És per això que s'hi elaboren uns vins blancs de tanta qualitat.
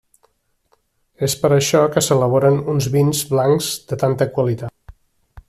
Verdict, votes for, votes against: rejected, 0, 3